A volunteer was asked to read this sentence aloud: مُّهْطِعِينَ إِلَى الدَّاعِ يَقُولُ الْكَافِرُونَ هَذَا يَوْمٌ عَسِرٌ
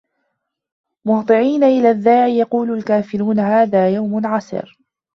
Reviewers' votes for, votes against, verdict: 0, 2, rejected